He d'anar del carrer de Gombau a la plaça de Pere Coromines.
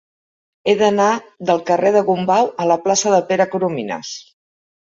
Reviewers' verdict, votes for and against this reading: accepted, 3, 0